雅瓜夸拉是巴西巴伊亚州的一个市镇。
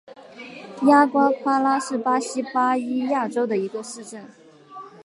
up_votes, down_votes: 4, 0